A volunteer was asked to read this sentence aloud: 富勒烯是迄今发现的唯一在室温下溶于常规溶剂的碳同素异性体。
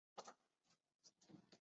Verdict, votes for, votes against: rejected, 0, 3